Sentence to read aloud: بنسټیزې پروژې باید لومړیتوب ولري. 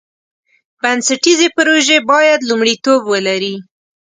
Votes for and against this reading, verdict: 5, 0, accepted